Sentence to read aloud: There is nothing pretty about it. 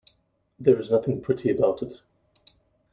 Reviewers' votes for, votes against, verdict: 2, 0, accepted